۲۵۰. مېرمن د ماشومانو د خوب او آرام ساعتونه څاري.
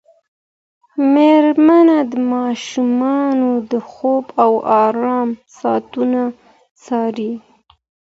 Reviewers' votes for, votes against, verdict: 0, 2, rejected